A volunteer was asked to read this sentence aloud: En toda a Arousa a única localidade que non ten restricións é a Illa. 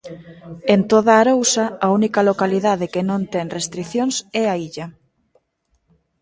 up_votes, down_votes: 2, 0